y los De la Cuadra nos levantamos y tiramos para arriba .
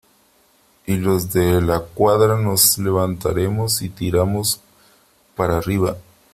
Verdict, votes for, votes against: rejected, 1, 3